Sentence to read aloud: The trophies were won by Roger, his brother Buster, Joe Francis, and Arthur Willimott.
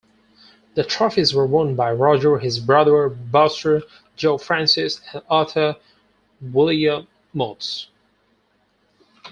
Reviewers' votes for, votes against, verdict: 2, 4, rejected